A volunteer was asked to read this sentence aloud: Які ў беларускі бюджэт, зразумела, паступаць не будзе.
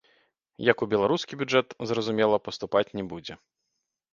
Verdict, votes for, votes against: rejected, 0, 2